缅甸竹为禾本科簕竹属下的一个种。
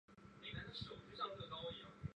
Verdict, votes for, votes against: rejected, 1, 2